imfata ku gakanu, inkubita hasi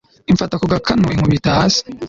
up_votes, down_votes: 2, 0